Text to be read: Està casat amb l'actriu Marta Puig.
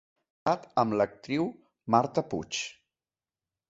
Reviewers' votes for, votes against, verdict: 0, 2, rejected